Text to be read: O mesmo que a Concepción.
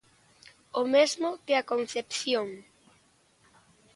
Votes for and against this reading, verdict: 3, 0, accepted